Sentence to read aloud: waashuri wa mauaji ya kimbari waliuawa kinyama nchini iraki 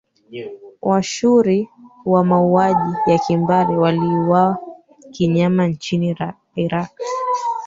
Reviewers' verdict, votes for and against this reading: rejected, 0, 3